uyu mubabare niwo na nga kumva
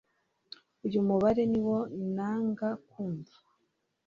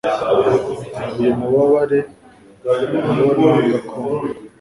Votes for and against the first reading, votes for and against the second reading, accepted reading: 2, 0, 1, 2, first